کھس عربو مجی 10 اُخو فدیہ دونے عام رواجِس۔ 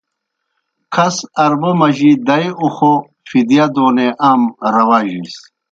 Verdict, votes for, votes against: rejected, 0, 2